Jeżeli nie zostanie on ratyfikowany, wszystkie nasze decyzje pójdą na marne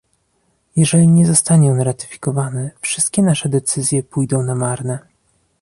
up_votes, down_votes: 2, 0